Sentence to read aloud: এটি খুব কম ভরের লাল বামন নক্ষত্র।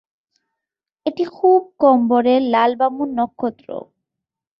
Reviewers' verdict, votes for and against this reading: rejected, 0, 2